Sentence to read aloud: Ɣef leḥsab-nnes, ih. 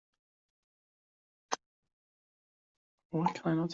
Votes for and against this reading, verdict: 0, 2, rejected